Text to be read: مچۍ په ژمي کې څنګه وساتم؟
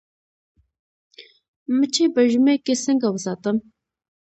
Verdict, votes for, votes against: rejected, 1, 2